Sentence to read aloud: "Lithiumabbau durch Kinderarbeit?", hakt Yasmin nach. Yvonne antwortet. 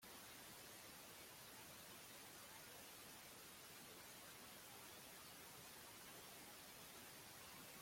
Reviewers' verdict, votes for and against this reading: rejected, 0, 2